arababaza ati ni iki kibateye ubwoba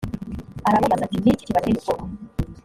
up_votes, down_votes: 1, 2